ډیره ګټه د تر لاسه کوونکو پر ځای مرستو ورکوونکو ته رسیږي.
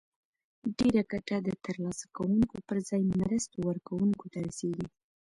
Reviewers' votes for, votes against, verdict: 1, 2, rejected